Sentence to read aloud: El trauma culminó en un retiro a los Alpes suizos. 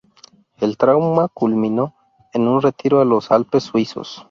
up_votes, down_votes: 6, 0